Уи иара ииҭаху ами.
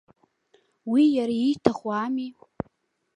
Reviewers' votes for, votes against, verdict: 2, 0, accepted